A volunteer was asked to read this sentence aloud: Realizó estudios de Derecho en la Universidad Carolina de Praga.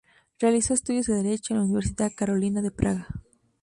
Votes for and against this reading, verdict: 4, 0, accepted